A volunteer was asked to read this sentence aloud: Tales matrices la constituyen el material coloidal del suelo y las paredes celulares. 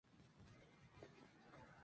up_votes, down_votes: 2, 0